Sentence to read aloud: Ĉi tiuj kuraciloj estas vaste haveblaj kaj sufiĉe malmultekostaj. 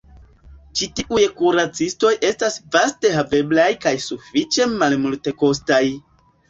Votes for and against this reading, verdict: 1, 2, rejected